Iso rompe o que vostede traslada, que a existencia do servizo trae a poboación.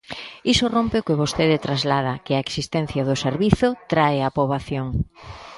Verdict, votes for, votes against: accepted, 3, 0